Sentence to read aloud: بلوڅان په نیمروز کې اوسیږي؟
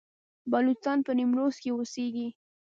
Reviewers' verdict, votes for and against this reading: accepted, 2, 0